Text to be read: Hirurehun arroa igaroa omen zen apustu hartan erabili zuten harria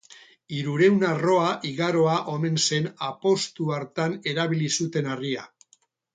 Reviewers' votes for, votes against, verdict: 2, 2, rejected